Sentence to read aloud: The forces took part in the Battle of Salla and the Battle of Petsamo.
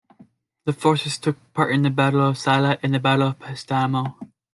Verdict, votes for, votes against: accepted, 2, 0